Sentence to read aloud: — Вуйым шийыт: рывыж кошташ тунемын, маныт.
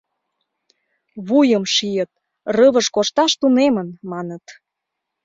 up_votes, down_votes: 2, 0